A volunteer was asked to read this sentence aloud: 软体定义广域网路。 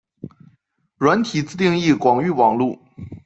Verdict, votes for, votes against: rejected, 0, 2